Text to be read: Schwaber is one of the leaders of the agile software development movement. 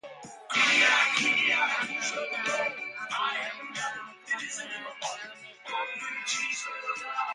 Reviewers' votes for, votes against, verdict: 0, 2, rejected